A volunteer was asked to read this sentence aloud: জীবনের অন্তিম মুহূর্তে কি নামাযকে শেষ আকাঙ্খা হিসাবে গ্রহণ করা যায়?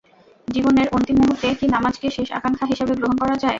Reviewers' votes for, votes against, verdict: 0, 2, rejected